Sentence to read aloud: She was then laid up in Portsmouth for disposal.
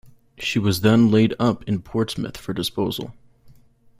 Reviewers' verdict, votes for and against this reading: accepted, 2, 0